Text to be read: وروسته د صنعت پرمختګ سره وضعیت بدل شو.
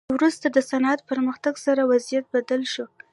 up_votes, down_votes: 3, 0